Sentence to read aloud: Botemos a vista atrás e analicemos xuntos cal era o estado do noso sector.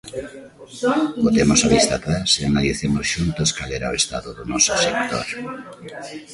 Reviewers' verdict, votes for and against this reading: rejected, 0, 2